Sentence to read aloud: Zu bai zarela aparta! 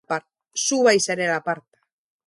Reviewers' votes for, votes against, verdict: 0, 2, rejected